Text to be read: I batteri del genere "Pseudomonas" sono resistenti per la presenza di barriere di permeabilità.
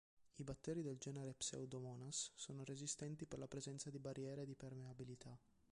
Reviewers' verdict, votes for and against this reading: accepted, 2, 1